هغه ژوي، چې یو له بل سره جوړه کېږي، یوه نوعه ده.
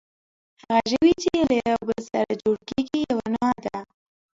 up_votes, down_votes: 0, 2